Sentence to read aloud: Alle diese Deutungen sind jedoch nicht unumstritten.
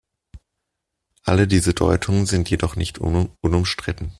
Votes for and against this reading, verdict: 0, 2, rejected